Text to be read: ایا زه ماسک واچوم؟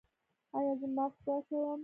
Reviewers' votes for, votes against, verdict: 2, 0, accepted